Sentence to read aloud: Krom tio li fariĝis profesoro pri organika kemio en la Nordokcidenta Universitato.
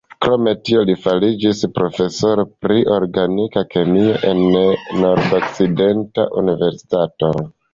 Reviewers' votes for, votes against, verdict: 1, 2, rejected